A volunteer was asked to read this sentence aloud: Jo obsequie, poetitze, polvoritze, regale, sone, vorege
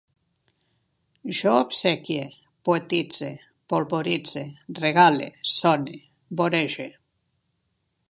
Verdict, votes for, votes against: accepted, 2, 0